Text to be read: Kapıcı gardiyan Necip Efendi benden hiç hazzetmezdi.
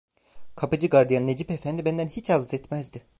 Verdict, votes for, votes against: rejected, 0, 2